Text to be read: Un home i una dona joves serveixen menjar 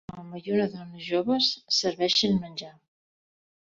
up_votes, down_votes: 2, 4